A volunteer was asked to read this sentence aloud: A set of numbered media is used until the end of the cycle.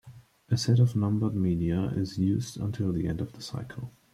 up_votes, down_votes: 1, 2